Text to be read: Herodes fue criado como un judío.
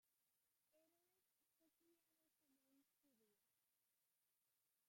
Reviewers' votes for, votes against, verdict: 0, 2, rejected